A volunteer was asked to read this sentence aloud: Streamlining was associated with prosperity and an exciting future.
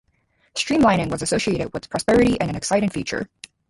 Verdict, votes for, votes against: rejected, 2, 2